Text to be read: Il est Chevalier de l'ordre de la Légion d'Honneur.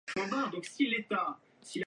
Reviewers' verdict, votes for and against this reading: rejected, 0, 2